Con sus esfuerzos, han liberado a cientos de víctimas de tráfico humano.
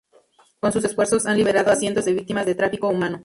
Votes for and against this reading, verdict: 0, 4, rejected